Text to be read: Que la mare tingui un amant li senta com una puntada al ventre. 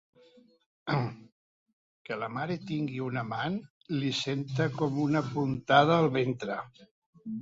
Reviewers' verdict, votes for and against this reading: accepted, 2, 0